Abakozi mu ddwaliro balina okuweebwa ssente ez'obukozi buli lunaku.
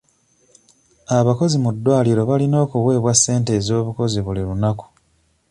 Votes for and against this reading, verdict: 2, 0, accepted